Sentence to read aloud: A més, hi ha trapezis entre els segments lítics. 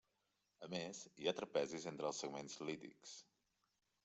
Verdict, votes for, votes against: accepted, 3, 1